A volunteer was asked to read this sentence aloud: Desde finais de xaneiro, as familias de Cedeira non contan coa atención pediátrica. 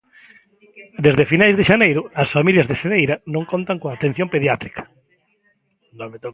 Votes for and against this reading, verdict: 0, 2, rejected